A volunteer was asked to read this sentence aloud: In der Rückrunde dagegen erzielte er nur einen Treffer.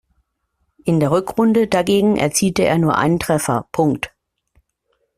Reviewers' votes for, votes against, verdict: 1, 3, rejected